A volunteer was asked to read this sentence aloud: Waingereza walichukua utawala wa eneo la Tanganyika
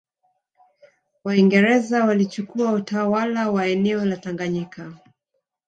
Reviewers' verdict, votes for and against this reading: accepted, 2, 1